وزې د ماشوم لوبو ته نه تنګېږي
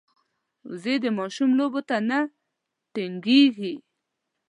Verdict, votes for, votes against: rejected, 0, 2